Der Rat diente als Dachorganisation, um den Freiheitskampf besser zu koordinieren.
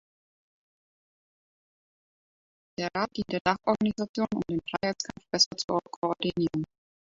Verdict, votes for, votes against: rejected, 0, 2